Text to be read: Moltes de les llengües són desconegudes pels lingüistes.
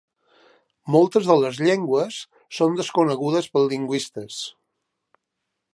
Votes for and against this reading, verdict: 2, 0, accepted